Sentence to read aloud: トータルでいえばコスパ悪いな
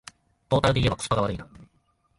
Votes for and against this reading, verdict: 1, 2, rejected